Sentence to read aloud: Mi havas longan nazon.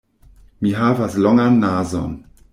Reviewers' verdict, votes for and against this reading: rejected, 0, 2